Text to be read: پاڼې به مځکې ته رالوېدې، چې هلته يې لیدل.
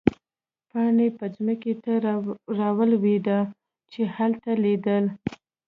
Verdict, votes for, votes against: rejected, 0, 2